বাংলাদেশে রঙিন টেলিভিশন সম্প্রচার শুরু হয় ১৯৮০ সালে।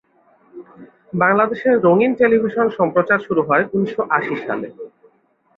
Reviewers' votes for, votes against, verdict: 0, 2, rejected